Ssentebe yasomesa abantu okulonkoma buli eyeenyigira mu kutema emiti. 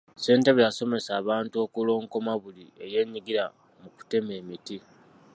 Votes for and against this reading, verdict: 2, 0, accepted